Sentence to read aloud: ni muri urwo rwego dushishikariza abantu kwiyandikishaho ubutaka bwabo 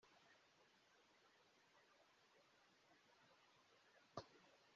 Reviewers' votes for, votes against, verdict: 0, 2, rejected